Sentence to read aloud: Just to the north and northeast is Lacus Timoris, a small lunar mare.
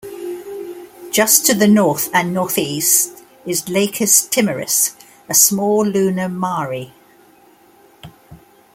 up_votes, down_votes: 0, 2